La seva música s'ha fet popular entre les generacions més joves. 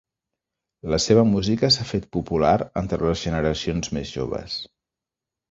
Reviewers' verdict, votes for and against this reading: rejected, 0, 2